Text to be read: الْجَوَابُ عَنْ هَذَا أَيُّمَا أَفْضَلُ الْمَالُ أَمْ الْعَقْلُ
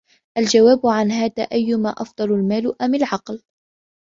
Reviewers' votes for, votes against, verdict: 2, 0, accepted